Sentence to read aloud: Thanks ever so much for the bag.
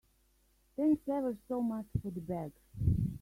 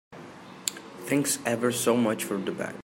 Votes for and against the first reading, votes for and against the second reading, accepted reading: 0, 2, 4, 0, second